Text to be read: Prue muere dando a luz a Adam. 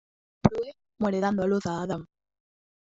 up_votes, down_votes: 2, 0